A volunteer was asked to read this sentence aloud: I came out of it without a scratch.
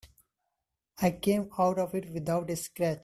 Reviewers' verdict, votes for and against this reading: rejected, 1, 2